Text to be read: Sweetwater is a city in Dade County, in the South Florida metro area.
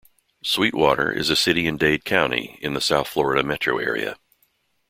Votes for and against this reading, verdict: 2, 0, accepted